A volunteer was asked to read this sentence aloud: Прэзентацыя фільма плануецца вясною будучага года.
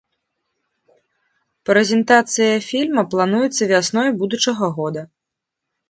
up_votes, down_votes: 2, 0